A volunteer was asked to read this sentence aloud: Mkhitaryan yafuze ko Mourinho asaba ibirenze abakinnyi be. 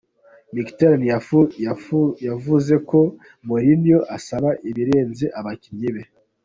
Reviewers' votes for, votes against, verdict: 2, 1, accepted